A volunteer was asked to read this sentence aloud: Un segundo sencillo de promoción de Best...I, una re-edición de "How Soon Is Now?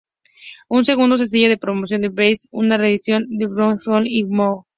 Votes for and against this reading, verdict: 0, 2, rejected